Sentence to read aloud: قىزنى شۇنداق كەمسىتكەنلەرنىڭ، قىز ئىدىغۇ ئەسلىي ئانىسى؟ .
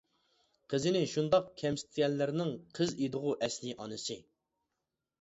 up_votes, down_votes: 0, 2